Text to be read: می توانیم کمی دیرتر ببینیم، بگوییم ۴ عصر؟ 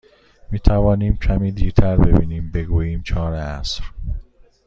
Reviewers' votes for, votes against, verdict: 0, 2, rejected